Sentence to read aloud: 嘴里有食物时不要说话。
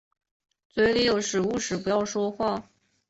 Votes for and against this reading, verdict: 2, 0, accepted